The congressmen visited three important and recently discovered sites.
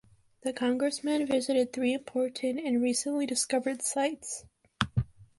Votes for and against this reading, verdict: 3, 0, accepted